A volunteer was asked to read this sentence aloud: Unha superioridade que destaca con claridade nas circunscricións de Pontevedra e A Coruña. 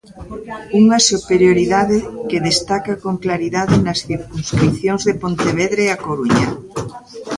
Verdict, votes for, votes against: accepted, 2, 0